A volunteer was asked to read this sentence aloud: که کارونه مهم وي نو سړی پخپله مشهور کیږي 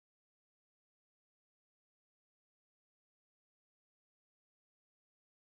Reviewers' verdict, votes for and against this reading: rejected, 1, 2